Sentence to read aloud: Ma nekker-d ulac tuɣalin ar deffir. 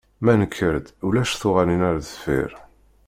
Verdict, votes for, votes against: accepted, 2, 0